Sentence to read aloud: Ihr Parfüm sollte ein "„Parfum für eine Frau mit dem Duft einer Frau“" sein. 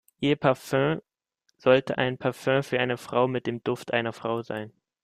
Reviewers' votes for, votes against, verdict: 1, 2, rejected